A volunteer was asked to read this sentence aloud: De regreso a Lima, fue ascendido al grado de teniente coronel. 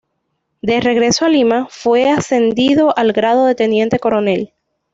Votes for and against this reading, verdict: 2, 0, accepted